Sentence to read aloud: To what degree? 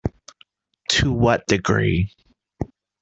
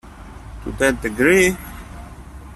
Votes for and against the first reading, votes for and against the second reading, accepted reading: 2, 0, 1, 2, first